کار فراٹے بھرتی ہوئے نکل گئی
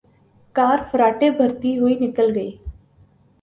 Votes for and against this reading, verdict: 2, 0, accepted